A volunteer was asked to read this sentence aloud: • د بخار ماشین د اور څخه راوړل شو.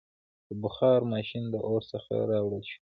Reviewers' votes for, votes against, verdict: 0, 2, rejected